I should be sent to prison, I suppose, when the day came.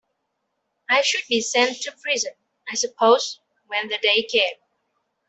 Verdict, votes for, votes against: accepted, 2, 1